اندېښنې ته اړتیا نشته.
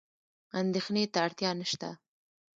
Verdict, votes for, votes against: rejected, 2, 3